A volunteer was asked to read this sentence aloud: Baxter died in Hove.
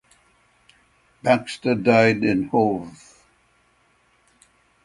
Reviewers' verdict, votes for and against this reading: accepted, 6, 0